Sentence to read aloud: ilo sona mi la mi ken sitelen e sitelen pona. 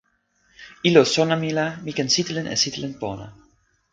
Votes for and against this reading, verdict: 2, 0, accepted